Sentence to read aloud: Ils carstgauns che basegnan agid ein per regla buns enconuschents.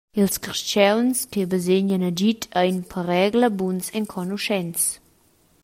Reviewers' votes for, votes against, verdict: 2, 0, accepted